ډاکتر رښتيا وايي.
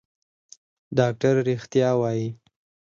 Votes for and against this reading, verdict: 2, 4, rejected